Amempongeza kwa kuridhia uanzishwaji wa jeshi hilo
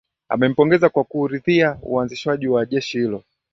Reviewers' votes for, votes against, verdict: 2, 0, accepted